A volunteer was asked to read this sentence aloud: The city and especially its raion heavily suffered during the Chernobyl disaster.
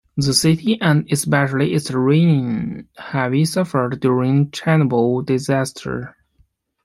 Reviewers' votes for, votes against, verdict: 0, 2, rejected